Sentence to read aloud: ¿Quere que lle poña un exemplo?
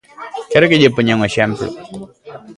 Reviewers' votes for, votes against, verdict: 0, 2, rejected